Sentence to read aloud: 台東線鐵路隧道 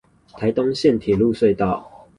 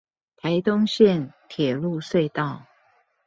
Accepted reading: second